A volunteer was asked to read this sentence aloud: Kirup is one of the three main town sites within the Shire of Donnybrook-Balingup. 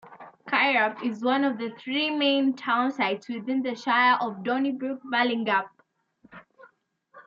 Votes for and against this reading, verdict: 2, 0, accepted